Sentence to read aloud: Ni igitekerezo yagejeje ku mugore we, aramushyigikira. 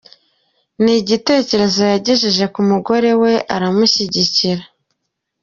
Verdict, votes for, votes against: accepted, 2, 0